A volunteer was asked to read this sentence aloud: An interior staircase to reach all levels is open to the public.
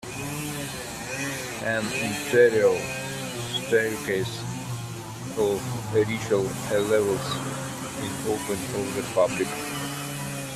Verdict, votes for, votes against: rejected, 0, 2